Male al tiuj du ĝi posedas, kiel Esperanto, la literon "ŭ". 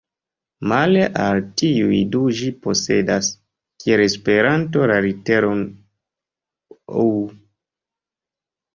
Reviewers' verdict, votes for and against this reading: rejected, 1, 2